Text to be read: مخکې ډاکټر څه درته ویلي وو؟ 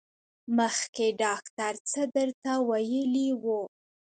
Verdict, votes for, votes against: rejected, 0, 2